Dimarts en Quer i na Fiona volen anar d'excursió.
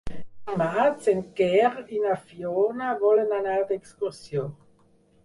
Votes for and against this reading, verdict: 4, 0, accepted